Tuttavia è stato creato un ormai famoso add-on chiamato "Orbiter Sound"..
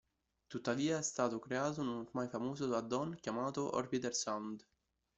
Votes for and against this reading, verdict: 1, 2, rejected